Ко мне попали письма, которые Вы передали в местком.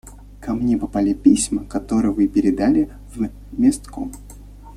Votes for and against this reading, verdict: 1, 2, rejected